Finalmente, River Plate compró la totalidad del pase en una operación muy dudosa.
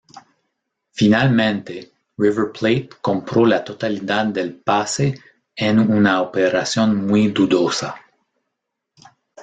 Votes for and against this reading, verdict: 2, 0, accepted